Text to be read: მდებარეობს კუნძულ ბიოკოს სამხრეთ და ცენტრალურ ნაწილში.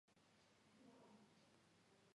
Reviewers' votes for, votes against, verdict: 1, 2, rejected